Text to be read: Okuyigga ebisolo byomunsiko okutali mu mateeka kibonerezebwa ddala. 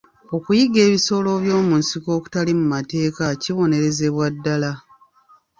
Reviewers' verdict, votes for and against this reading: rejected, 0, 2